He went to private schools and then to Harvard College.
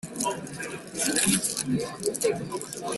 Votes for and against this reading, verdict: 0, 2, rejected